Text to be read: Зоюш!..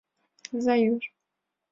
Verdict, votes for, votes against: accepted, 2, 0